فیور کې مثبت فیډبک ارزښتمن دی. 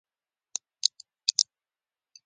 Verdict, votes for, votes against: rejected, 1, 2